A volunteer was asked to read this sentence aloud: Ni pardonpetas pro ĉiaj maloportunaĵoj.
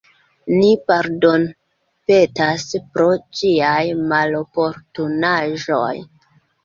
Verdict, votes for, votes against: accepted, 2, 0